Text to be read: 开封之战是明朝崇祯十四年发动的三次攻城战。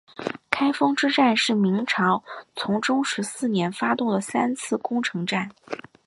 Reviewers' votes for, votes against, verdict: 7, 1, accepted